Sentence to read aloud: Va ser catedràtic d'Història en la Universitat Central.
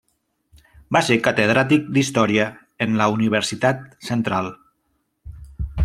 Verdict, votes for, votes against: accepted, 3, 0